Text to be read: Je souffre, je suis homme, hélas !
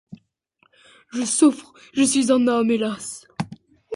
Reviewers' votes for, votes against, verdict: 1, 2, rejected